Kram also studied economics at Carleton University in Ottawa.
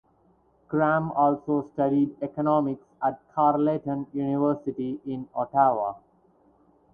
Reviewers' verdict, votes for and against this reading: rejected, 0, 4